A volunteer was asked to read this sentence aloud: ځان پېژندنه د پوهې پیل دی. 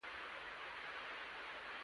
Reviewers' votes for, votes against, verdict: 0, 2, rejected